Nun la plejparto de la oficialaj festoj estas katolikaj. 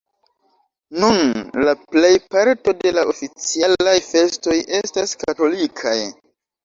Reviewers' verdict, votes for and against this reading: rejected, 1, 2